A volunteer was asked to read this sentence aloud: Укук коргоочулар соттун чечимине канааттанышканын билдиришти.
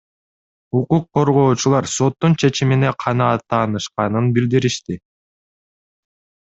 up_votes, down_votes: 2, 0